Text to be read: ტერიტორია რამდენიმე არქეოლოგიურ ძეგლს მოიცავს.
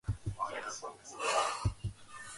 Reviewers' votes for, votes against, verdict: 0, 3, rejected